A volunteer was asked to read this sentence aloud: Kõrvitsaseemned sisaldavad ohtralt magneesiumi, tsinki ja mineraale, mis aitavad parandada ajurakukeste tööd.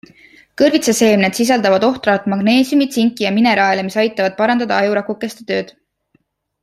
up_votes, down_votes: 3, 0